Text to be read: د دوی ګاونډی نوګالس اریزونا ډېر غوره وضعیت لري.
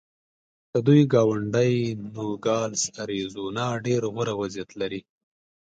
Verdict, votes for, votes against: accepted, 2, 0